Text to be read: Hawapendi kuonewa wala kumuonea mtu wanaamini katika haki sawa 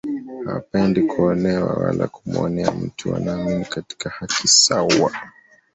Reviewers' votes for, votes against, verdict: 2, 0, accepted